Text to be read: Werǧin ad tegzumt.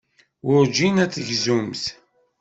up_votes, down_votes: 2, 0